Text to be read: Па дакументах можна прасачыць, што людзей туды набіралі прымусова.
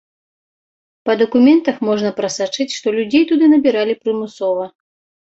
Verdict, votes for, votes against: accepted, 2, 0